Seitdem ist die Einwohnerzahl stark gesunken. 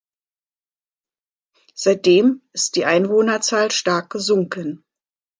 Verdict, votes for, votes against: accepted, 3, 0